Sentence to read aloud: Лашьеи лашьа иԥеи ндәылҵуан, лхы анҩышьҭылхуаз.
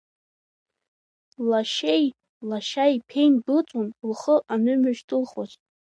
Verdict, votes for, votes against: accepted, 2, 1